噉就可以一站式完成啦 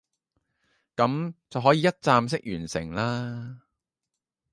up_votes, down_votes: 0, 2